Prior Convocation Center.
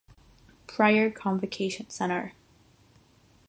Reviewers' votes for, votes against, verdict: 3, 3, rejected